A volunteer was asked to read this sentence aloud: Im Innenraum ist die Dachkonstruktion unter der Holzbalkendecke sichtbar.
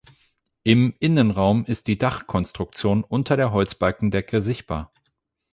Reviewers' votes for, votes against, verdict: 8, 0, accepted